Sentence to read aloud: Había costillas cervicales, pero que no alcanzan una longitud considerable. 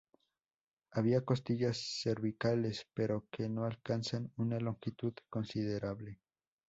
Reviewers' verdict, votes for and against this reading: rejected, 2, 2